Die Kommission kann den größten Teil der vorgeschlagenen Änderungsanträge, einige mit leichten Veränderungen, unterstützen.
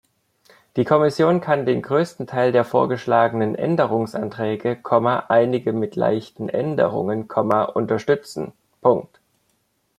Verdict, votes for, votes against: rejected, 1, 2